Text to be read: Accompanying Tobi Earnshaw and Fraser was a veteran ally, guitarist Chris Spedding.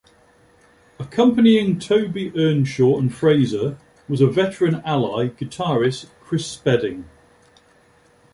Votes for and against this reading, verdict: 2, 0, accepted